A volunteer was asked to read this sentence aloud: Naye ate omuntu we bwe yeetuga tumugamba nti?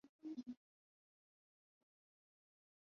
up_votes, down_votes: 1, 2